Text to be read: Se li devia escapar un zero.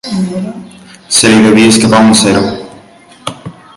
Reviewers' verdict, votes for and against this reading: accepted, 2, 1